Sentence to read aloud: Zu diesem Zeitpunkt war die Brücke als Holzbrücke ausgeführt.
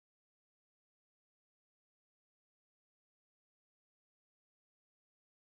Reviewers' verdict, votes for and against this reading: rejected, 0, 2